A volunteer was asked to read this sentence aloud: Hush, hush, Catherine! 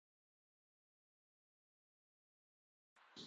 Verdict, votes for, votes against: rejected, 0, 2